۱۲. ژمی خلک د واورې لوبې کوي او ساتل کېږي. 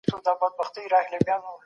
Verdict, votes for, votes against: rejected, 0, 2